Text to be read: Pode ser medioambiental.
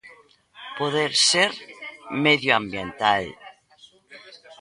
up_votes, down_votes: 1, 2